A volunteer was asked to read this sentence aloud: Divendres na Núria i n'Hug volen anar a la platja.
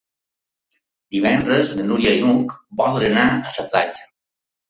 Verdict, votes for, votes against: rejected, 1, 2